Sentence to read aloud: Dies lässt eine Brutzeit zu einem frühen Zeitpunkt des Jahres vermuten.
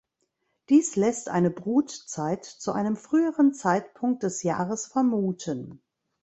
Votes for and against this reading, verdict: 1, 2, rejected